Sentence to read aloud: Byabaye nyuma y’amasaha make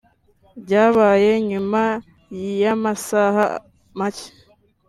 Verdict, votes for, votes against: accepted, 2, 0